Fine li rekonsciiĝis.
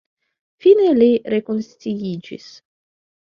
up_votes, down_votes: 2, 1